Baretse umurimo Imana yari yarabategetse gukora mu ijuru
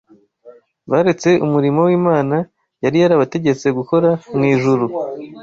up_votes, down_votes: 1, 2